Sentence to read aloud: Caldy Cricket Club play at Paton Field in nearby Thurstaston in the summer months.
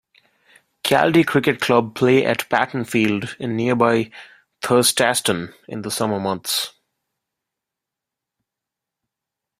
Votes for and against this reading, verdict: 2, 1, accepted